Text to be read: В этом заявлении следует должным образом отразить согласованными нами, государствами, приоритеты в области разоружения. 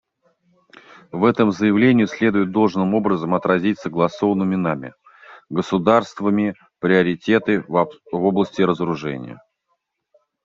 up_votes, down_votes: 0, 2